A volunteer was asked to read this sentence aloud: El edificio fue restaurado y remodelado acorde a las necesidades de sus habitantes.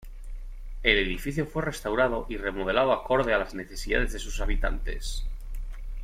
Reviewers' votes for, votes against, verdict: 2, 0, accepted